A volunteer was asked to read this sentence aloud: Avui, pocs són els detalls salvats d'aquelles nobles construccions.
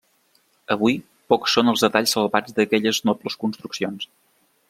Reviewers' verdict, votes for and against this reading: accepted, 3, 0